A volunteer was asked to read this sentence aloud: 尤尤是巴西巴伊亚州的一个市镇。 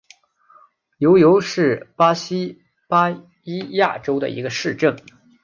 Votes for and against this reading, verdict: 2, 0, accepted